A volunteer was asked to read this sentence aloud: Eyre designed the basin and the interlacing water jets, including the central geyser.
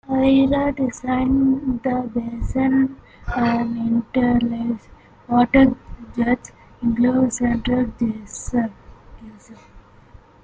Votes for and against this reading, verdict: 0, 2, rejected